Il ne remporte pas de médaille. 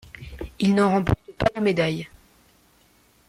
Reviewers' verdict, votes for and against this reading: rejected, 0, 2